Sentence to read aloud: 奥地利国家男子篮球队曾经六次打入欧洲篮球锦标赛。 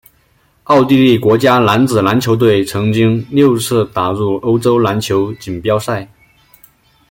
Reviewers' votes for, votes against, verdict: 2, 0, accepted